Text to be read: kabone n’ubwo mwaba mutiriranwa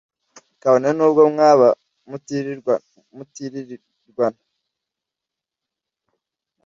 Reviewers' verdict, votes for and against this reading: rejected, 0, 2